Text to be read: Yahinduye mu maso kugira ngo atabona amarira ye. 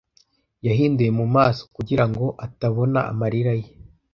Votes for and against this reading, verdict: 2, 0, accepted